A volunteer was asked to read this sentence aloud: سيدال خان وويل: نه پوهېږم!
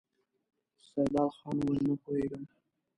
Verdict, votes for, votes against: accepted, 2, 0